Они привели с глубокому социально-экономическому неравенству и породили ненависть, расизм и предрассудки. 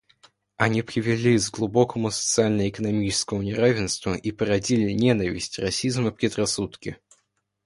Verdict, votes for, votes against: accepted, 2, 1